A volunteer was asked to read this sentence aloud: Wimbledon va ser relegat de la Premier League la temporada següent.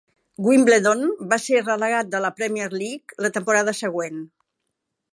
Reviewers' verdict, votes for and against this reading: rejected, 1, 2